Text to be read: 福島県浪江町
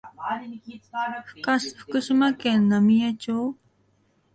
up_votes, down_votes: 1, 2